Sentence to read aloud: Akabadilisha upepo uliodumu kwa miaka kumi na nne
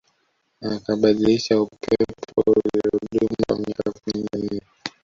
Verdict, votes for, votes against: rejected, 1, 2